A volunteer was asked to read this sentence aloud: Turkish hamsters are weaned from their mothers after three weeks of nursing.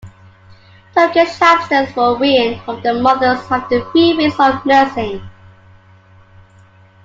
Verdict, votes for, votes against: accepted, 2, 1